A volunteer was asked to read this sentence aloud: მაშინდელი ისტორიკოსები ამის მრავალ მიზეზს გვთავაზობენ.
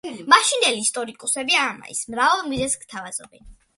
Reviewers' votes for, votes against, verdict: 0, 2, rejected